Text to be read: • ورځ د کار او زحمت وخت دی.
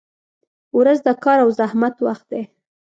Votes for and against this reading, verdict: 2, 0, accepted